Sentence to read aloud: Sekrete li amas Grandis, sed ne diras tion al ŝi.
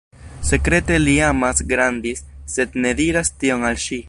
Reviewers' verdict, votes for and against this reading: accepted, 2, 0